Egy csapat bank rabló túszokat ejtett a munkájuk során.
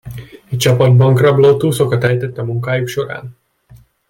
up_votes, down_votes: 1, 2